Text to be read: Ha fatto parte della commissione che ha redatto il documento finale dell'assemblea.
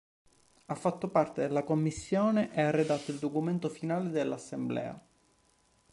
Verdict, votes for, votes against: accepted, 2, 0